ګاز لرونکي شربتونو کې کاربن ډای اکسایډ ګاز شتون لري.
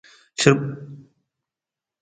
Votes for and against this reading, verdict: 0, 2, rejected